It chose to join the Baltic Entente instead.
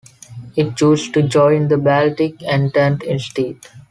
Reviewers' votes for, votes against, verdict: 2, 1, accepted